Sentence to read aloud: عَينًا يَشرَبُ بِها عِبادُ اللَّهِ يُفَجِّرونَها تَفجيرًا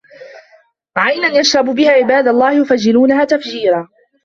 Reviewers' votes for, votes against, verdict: 0, 2, rejected